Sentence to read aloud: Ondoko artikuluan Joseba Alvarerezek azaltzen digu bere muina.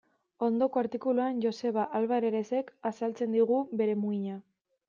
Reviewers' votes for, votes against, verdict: 2, 0, accepted